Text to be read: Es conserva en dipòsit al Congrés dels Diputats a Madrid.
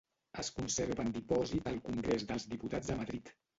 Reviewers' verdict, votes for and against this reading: rejected, 1, 3